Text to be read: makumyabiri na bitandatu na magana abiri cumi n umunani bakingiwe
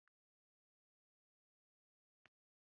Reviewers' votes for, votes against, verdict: 0, 2, rejected